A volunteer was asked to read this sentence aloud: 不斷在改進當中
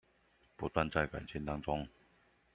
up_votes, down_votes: 0, 2